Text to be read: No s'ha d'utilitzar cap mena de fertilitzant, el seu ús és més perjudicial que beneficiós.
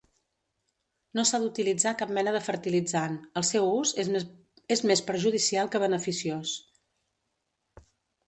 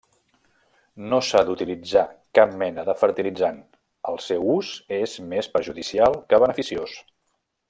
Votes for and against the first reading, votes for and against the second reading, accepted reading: 0, 2, 3, 0, second